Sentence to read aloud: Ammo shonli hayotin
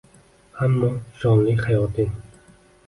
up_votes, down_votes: 1, 2